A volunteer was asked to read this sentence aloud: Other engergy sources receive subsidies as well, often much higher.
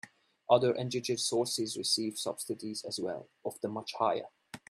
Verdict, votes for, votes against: accepted, 3, 0